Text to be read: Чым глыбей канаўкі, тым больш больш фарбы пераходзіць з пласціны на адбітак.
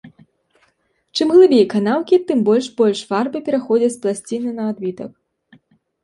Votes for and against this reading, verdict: 2, 0, accepted